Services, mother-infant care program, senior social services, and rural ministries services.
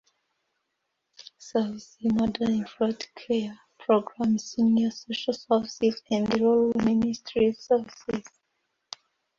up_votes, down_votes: 2, 1